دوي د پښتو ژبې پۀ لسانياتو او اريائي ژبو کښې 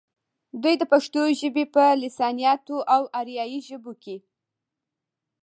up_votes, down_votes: 1, 2